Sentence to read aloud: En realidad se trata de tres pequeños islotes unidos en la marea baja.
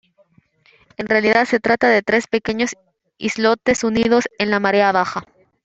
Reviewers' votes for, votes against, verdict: 1, 2, rejected